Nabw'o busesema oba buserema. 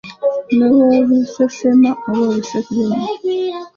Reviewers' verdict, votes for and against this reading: rejected, 1, 2